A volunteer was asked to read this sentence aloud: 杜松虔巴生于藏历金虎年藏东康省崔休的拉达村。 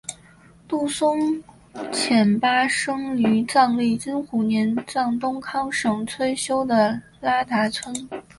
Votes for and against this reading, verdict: 2, 0, accepted